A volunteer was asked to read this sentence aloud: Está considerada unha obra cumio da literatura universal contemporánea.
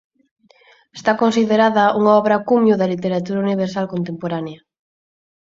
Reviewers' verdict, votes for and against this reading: accepted, 4, 0